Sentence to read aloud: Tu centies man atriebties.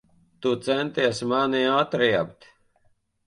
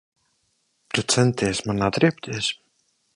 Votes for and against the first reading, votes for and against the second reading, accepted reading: 0, 2, 2, 0, second